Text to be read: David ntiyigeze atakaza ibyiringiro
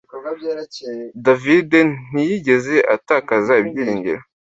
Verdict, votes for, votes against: accepted, 2, 1